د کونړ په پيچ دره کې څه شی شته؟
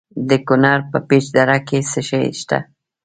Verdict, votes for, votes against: rejected, 1, 2